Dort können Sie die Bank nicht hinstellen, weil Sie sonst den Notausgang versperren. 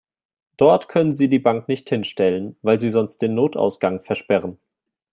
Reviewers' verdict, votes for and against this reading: accepted, 2, 1